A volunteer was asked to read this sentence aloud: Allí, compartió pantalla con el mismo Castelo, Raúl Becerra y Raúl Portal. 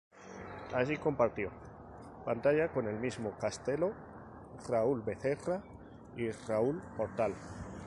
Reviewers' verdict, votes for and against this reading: accepted, 2, 0